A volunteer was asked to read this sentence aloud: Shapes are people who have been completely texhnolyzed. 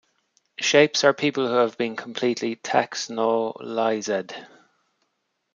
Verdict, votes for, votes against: rejected, 1, 2